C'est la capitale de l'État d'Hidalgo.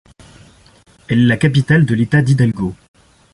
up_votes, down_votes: 0, 2